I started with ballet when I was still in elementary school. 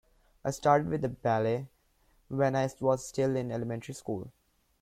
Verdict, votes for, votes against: rejected, 0, 2